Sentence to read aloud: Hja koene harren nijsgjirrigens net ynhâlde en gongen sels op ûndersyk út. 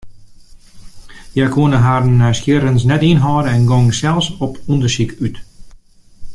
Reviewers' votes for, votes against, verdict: 2, 0, accepted